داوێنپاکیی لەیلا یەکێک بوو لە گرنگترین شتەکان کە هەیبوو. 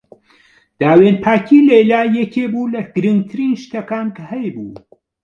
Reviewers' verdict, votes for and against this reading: accepted, 2, 0